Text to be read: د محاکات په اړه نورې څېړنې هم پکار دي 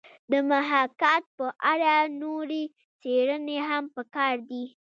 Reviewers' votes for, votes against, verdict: 1, 2, rejected